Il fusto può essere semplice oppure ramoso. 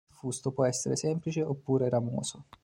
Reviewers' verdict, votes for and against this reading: rejected, 0, 2